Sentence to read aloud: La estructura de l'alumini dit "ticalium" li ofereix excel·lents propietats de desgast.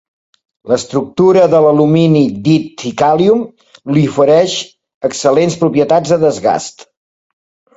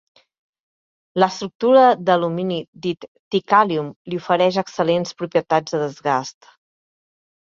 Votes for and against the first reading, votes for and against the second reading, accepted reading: 3, 0, 1, 2, first